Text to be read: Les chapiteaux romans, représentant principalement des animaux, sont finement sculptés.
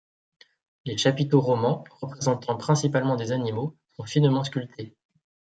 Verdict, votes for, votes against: accepted, 2, 0